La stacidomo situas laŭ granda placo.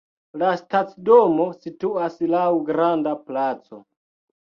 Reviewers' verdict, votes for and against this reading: rejected, 0, 2